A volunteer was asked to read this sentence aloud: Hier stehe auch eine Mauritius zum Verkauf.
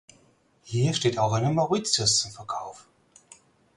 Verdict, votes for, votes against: rejected, 0, 4